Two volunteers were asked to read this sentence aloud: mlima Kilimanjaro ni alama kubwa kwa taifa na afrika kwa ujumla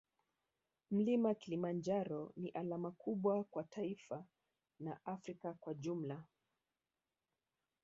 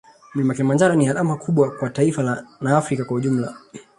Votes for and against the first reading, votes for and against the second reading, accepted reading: 1, 2, 2, 0, second